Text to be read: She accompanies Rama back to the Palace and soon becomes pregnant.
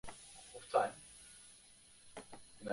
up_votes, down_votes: 0, 2